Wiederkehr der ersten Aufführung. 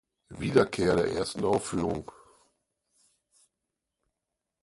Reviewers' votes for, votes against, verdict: 4, 2, accepted